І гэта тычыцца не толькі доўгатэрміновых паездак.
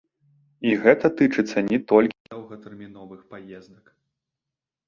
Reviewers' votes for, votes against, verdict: 0, 2, rejected